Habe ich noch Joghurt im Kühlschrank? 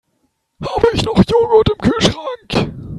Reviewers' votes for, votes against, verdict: 1, 3, rejected